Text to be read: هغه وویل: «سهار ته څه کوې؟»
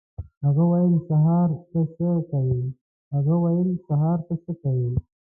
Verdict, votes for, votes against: accepted, 2, 0